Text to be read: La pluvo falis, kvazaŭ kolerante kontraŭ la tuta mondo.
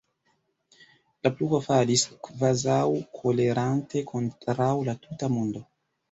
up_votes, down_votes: 1, 2